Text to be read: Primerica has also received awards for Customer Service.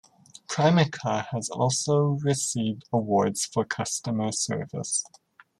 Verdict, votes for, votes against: rejected, 1, 2